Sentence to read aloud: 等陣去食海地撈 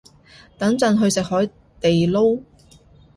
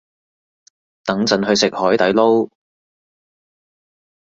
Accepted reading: first